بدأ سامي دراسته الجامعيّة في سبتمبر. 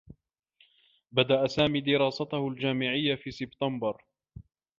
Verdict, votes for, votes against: accepted, 2, 0